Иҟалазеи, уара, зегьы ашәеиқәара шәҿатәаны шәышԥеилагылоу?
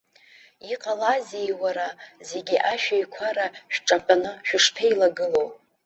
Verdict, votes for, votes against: rejected, 1, 2